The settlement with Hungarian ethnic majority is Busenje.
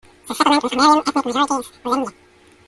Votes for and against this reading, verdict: 0, 2, rejected